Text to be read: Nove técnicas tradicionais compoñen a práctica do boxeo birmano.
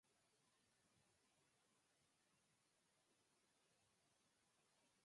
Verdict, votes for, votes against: rejected, 0, 4